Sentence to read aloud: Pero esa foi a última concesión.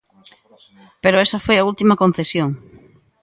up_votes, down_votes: 3, 1